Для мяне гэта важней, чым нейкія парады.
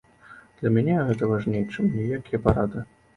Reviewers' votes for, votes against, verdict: 0, 2, rejected